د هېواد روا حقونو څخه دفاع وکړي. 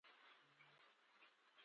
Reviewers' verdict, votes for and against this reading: rejected, 0, 2